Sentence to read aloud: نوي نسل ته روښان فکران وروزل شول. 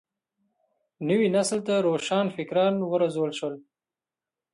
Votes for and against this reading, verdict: 2, 0, accepted